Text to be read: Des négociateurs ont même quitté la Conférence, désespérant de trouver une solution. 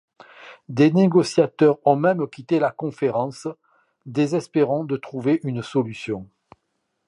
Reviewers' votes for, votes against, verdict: 2, 0, accepted